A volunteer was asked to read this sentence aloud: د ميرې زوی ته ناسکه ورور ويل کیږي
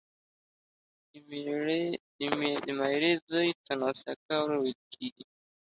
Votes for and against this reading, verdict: 1, 2, rejected